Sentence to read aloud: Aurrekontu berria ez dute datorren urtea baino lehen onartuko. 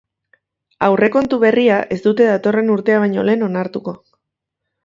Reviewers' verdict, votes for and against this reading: accepted, 2, 1